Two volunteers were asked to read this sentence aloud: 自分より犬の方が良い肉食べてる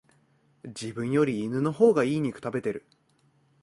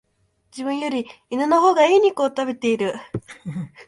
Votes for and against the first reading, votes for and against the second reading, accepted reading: 3, 0, 1, 2, first